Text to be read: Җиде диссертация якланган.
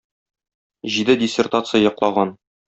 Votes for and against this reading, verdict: 0, 2, rejected